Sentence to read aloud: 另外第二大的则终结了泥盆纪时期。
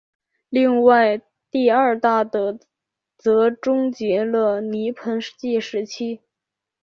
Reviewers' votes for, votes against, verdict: 2, 1, accepted